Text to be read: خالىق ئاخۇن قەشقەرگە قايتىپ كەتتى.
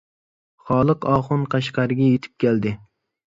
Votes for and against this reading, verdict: 0, 2, rejected